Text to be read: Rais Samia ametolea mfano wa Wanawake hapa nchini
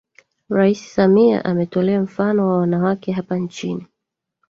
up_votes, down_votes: 2, 1